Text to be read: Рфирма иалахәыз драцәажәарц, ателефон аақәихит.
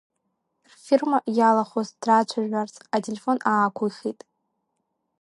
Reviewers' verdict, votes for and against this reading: accepted, 2, 1